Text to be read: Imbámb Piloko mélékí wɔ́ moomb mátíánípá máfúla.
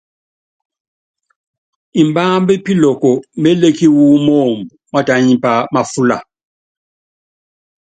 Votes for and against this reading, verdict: 2, 0, accepted